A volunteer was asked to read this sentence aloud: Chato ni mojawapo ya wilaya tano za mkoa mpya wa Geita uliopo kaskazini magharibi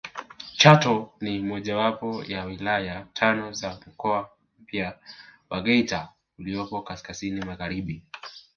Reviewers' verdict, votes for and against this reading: accepted, 2, 1